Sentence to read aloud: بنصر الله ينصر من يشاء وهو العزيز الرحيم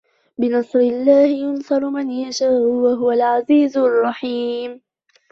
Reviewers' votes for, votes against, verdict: 1, 2, rejected